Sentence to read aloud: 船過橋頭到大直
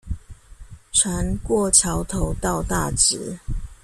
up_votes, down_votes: 2, 0